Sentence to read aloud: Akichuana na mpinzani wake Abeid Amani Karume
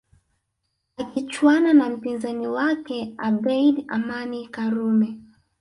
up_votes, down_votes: 1, 2